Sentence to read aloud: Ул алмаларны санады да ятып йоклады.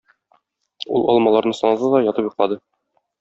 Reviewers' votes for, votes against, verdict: 0, 2, rejected